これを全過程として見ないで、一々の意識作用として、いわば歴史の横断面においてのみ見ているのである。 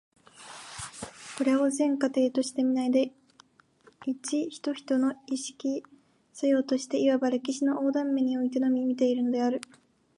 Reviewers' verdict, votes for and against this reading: rejected, 0, 2